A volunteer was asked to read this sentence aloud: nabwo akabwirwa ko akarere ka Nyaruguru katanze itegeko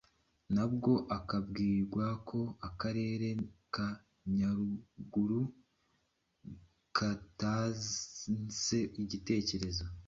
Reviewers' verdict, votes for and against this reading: rejected, 1, 2